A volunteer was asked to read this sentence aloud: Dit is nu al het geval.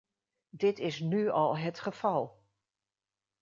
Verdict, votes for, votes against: accepted, 2, 0